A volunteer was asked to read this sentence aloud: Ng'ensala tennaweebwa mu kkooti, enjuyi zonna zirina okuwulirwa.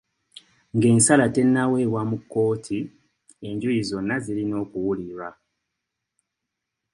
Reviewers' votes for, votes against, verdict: 2, 0, accepted